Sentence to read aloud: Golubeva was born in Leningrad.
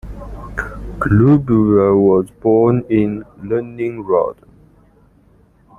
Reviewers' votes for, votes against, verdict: 1, 2, rejected